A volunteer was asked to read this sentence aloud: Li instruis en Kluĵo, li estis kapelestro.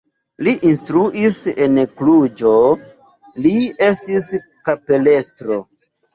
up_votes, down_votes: 0, 2